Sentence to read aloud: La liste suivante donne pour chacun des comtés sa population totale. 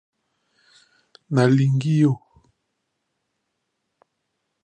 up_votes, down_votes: 0, 2